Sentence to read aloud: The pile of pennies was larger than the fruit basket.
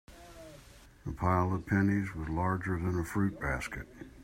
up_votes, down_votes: 1, 2